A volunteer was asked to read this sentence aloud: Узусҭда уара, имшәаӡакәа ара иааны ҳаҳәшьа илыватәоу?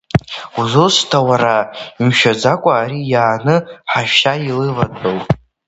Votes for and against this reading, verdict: 0, 2, rejected